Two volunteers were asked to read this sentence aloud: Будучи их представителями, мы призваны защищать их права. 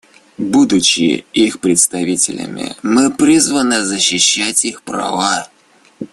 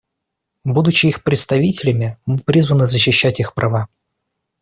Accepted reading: second